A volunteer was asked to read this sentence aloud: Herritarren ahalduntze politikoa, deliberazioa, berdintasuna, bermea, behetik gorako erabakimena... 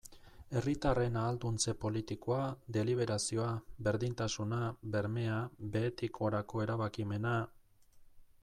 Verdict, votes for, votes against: accepted, 2, 0